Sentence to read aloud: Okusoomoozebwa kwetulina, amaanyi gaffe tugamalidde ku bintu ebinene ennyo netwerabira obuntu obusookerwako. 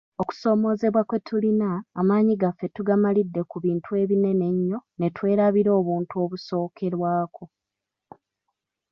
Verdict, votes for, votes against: accepted, 3, 1